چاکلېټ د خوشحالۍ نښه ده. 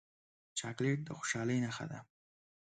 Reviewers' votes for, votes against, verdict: 1, 2, rejected